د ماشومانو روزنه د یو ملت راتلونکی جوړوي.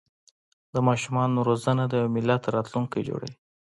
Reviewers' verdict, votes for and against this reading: accepted, 2, 0